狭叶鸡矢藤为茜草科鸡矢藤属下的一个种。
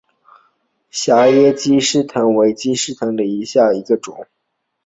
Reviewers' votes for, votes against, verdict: 0, 2, rejected